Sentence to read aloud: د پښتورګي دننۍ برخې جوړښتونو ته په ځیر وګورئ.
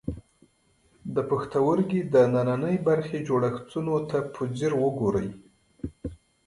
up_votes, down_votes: 2, 0